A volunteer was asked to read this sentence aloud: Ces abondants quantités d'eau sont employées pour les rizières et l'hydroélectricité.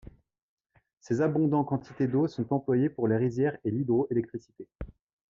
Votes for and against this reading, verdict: 2, 0, accepted